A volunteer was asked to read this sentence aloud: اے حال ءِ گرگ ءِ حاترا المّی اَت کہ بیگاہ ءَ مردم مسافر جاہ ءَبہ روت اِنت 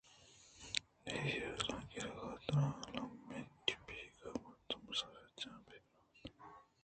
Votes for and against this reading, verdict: 1, 2, rejected